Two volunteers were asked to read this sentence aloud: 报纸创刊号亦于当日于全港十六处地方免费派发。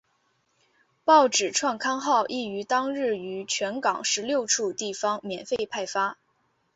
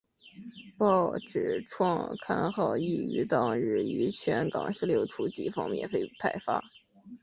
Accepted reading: first